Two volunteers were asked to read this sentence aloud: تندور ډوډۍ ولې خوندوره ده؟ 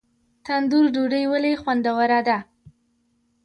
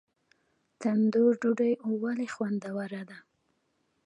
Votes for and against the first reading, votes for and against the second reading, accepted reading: 2, 1, 0, 2, first